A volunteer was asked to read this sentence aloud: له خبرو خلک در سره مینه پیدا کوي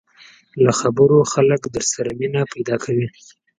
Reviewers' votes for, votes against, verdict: 4, 0, accepted